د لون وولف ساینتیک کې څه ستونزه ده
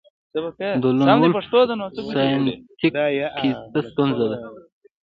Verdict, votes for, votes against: rejected, 0, 2